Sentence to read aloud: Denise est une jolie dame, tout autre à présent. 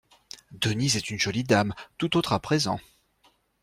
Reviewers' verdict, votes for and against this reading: accepted, 2, 0